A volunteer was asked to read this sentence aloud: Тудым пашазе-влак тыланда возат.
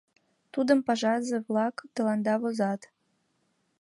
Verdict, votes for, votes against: accepted, 2, 0